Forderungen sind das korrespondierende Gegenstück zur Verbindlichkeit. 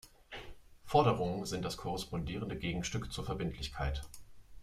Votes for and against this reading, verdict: 0, 2, rejected